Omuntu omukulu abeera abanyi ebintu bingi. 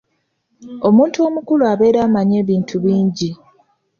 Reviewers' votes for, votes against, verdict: 2, 0, accepted